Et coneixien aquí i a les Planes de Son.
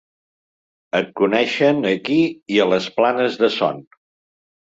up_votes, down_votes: 0, 2